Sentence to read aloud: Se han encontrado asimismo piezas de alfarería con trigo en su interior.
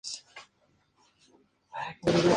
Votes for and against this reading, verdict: 0, 4, rejected